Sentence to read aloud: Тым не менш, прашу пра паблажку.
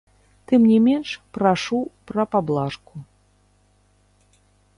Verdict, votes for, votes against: rejected, 0, 2